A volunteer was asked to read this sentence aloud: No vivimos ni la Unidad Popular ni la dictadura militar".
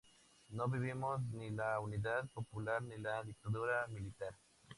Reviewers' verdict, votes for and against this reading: accepted, 2, 0